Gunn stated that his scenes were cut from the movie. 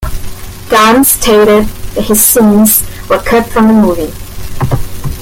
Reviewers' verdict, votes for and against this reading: rejected, 0, 2